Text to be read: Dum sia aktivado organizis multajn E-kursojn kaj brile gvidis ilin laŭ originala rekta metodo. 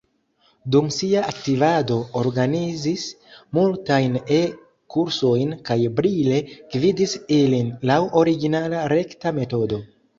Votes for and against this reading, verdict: 2, 0, accepted